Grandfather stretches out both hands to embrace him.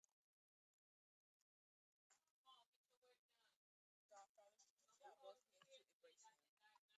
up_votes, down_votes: 0, 2